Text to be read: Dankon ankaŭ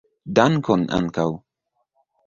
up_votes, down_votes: 0, 2